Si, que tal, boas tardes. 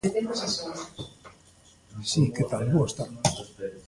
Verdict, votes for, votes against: rejected, 0, 2